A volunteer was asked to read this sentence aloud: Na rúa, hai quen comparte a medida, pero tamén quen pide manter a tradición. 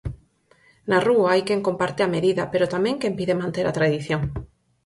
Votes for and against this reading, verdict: 4, 0, accepted